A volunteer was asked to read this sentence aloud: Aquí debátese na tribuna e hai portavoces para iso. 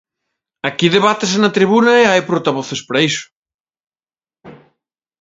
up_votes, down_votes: 1, 2